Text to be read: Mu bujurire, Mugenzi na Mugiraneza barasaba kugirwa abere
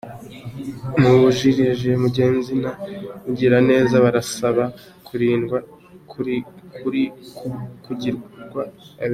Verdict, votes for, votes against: rejected, 1, 3